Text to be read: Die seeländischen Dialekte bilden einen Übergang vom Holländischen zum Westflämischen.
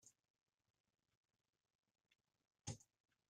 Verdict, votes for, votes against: rejected, 0, 2